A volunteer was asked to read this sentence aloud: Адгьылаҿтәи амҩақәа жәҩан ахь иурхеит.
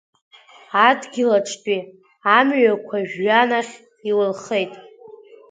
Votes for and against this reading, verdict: 2, 3, rejected